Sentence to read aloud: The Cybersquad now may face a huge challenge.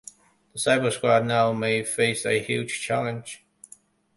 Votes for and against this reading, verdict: 2, 1, accepted